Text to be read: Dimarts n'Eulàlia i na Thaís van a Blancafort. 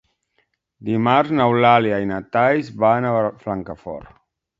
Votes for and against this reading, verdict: 0, 2, rejected